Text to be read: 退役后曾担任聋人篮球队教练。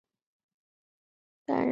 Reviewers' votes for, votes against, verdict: 2, 3, rejected